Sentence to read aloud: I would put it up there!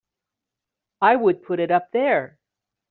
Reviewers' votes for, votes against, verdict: 3, 0, accepted